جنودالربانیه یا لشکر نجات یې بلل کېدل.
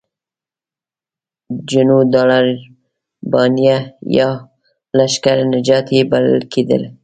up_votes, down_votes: 0, 2